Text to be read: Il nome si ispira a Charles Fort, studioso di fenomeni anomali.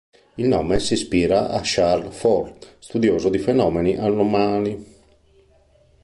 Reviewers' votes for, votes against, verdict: 1, 2, rejected